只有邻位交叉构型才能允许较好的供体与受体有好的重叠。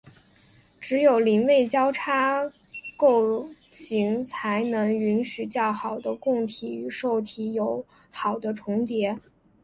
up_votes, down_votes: 3, 1